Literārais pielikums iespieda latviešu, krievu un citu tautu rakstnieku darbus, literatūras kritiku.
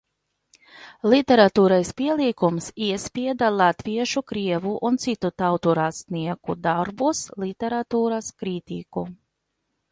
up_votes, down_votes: 0, 2